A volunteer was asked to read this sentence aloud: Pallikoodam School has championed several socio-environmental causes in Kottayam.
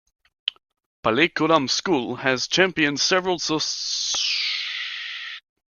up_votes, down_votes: 0, 2